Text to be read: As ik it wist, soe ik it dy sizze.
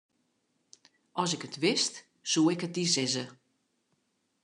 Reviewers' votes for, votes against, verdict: 3, 0, accepted